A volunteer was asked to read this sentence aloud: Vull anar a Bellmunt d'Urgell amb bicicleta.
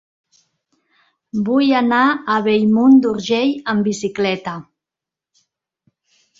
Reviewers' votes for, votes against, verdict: 3, 0, accepted